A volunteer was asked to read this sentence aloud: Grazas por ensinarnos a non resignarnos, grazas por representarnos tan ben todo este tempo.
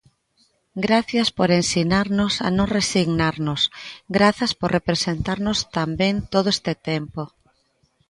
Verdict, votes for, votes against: rejected, 0, 2